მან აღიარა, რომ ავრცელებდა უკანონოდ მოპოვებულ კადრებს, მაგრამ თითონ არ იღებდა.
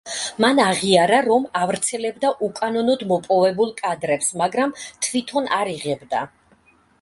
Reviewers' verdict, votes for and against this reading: rejected, 1, 2